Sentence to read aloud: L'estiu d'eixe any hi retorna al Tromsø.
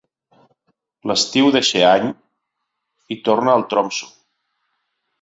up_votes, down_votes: 1, 2